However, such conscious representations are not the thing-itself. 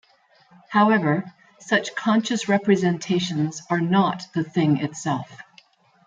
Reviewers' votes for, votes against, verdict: 2, 0, accepted